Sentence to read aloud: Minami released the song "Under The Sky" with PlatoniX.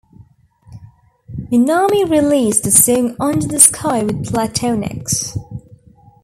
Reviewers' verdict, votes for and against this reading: rejected, 0, 2